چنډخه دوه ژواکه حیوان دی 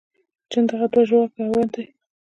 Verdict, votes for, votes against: accepted, 2, 0